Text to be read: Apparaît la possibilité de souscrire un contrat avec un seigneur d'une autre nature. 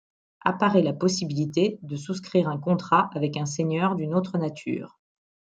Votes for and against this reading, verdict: 2, 0, accepted